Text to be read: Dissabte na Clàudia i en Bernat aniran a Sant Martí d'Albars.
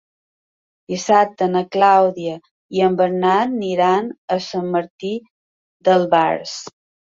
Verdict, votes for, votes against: rejected, 2, 3